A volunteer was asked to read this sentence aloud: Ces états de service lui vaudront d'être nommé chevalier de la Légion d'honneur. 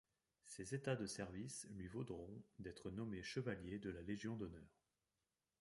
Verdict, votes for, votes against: rejected, 1, 2